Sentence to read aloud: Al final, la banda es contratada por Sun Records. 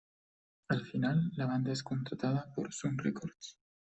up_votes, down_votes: 2, 0